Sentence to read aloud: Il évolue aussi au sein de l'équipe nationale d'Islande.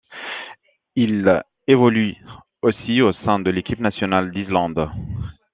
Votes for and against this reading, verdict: 2, 1, accepted